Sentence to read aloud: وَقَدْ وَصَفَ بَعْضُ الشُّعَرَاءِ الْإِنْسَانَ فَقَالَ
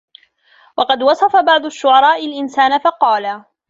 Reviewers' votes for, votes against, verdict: 2, 1, accepted